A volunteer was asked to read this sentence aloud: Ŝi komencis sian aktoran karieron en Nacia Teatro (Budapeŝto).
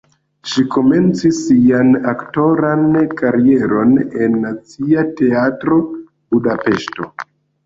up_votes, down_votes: 0, 2